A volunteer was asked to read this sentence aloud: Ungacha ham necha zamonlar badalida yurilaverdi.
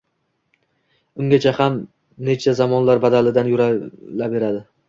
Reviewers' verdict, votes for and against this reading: accepted, 2, 0